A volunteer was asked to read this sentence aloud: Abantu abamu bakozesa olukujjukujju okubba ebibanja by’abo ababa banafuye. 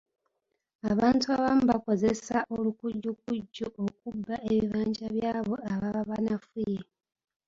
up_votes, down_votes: 0, 2